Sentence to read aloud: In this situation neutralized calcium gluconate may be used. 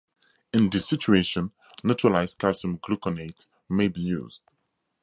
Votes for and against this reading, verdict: 2, 0, accepted